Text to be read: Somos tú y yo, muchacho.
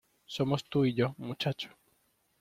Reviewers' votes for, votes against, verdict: 2, 0, accepted